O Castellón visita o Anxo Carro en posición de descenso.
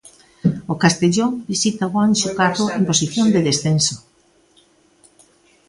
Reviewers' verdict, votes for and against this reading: accepted, 2, 0